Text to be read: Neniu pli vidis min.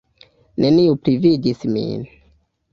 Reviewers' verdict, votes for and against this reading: accepted, 2, 0